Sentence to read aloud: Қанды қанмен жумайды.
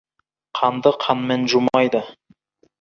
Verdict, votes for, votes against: rejected, 1, 2